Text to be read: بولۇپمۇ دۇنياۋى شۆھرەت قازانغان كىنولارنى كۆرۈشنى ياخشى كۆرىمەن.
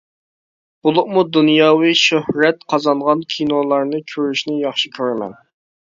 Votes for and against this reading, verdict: 2, 0, accepted